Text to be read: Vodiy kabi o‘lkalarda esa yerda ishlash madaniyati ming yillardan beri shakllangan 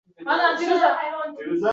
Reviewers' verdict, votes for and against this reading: rejected, 0, 2